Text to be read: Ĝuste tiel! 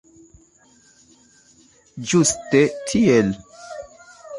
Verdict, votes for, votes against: accepted, 2, 0